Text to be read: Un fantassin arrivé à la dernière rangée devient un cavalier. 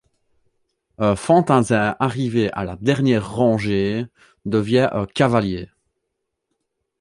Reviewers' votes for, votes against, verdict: 2, 0, accepted